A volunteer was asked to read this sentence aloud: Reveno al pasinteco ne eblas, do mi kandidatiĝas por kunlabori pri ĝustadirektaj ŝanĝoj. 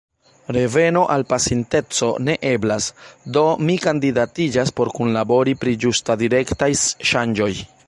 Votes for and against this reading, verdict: 2, 0, accepted